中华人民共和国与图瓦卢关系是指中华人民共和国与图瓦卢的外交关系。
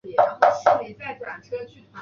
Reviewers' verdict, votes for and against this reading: rejected, 0, 2